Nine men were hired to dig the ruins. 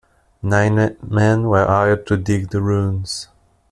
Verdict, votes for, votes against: rejected, 1, 2